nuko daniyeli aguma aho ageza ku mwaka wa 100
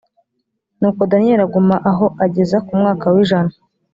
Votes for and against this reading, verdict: 0, 2, rejected